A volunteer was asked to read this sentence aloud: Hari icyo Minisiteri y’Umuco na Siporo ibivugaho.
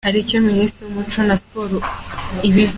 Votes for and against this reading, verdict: 0, 2, rejected